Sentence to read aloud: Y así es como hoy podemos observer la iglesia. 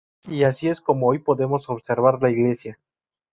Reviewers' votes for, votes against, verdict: 0, 2, rejected